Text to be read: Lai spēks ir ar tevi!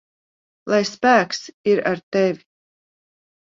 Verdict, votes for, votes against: accepted, 2, 0